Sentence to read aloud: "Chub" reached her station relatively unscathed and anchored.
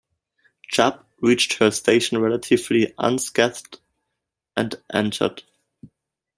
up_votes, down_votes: 0, 2